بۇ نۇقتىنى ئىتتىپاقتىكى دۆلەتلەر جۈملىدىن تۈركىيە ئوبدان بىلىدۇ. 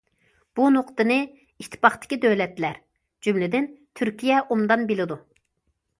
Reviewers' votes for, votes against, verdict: 0, 2, rejected